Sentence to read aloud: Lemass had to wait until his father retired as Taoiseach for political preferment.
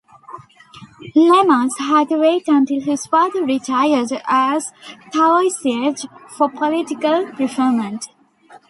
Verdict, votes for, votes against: rejected, 1, 2